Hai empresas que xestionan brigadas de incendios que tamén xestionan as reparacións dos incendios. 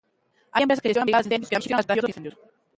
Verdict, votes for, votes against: rejected, 0, 3